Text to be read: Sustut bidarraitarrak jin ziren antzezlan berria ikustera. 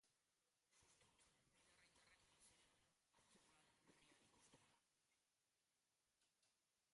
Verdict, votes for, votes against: rejected, 0, 2